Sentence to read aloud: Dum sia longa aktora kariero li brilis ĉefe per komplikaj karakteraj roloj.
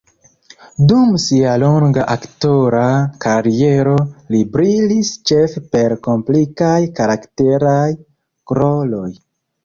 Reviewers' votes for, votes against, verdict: 1, 2, rejected